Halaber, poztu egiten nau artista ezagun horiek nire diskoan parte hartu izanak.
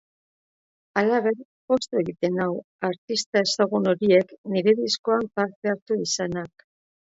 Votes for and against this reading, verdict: 0, 2, rejected